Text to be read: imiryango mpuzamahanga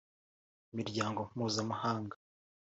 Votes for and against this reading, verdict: 3, 0, accepted